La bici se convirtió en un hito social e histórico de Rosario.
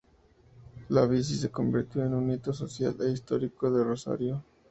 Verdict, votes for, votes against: accepted, 2, 0